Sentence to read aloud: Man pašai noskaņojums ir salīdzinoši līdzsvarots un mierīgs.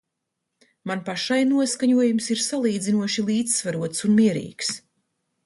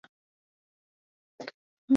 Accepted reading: first